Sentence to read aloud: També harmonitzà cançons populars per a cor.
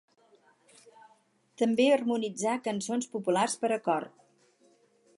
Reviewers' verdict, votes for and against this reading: accepted, 4, 0